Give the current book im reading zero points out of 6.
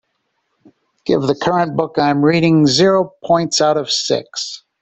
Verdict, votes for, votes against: rejected, 0, 2